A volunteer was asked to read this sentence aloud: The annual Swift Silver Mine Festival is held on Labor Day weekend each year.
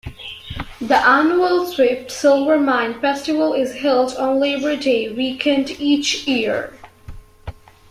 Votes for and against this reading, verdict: 2, 0, accepted